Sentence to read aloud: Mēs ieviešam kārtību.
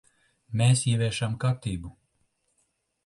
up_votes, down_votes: 2, 0